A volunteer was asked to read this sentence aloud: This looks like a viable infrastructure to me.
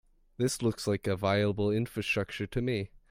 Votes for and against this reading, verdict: 1, 2, rejected